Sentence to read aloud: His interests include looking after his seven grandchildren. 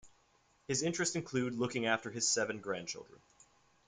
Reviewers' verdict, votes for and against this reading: accepted, 2, 0